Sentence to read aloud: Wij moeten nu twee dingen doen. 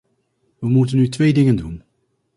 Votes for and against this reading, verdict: 0, 2, rejected